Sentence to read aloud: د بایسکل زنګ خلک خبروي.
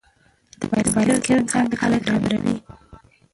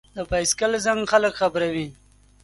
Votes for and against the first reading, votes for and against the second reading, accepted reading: 0, 2, 2, 0, second